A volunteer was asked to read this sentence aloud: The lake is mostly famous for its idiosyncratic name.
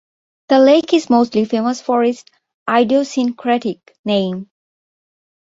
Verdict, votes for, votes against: accepted, 2, 1